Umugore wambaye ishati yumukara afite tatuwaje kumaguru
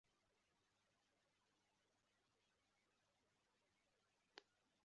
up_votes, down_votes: 0, 2